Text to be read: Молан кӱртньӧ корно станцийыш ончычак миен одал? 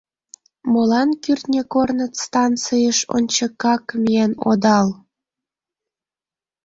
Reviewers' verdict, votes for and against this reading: rejected, 0, 2